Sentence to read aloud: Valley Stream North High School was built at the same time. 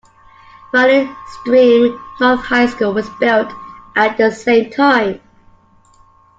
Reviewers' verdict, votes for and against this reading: accepted, 2, 0